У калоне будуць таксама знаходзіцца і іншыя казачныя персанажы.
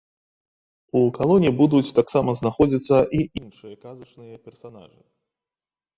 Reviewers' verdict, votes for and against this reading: rejected, 1, 2